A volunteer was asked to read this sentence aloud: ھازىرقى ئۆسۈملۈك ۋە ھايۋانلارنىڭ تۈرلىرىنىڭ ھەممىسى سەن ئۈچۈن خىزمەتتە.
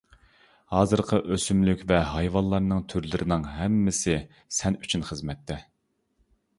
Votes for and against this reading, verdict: 2, 0, accepted